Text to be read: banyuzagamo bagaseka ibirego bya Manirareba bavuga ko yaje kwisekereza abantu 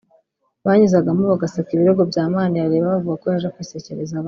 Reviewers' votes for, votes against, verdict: 1, 2, rejected